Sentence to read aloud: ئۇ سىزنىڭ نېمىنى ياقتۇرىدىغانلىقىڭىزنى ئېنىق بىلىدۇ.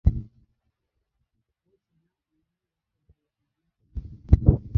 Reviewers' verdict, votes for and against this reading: rejected, 0, 2